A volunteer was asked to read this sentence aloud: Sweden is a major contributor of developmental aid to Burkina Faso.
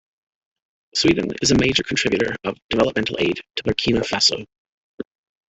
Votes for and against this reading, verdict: 1, 2, rejected